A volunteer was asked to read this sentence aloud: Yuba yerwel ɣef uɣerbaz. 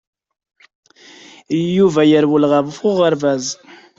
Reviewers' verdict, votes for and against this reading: accepted, 2, 0